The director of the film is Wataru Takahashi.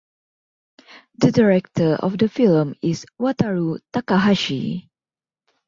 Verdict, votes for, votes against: accepted, 2, 0